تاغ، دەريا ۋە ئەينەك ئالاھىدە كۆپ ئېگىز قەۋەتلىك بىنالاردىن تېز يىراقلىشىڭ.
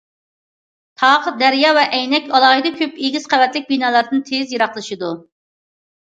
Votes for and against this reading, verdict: 0, 2, rejected